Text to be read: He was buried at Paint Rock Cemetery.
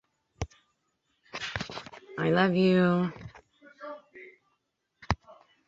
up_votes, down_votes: 0, 2